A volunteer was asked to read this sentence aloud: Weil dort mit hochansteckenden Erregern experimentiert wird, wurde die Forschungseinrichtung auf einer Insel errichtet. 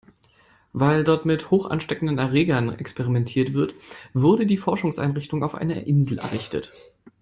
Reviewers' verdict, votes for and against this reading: accepted, 2, 0